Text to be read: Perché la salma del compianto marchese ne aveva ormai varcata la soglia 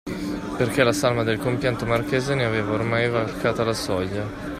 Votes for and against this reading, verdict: 2, 1, accepted